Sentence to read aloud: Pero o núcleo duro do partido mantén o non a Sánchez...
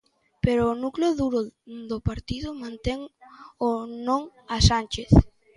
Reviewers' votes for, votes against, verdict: 2, 3, rejected